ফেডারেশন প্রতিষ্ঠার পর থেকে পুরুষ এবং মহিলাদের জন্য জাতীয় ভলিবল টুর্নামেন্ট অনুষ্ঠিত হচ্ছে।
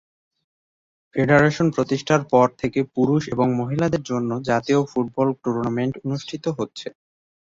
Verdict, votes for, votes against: rejected, 0, 5